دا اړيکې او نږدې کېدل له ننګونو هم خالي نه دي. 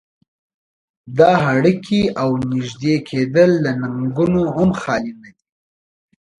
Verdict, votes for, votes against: accepted, 2, 1